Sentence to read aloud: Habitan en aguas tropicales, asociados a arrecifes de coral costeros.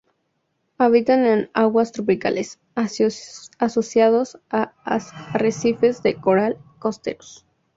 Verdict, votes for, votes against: rejected, 0, 4